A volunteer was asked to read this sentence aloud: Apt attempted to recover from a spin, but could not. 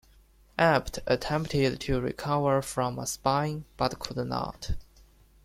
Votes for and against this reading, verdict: 0, 2, rejected